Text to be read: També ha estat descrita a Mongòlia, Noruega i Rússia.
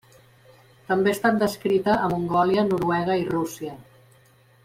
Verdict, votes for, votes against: accepted, 2, 0